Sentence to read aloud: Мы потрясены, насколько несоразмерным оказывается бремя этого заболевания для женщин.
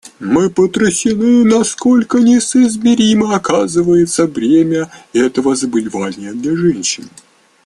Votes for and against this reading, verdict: 1, 2, rejected